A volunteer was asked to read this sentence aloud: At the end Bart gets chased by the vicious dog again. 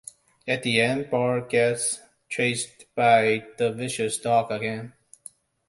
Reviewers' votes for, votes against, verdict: 2, 0, accepted